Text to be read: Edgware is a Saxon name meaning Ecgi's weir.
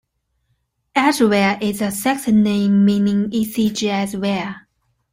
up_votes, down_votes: 0, 2